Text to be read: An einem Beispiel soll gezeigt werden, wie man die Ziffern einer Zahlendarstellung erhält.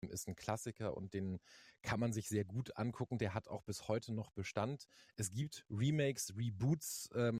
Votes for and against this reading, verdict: 0, 2, rejected